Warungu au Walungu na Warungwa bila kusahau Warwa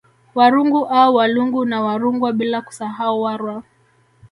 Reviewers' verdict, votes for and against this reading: accepted, 2, 0